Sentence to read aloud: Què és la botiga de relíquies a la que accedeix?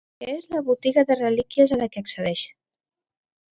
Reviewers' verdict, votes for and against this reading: rejected, 0, 2